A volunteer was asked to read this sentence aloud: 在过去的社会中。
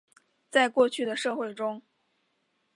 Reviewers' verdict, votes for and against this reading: accepted, 2, 0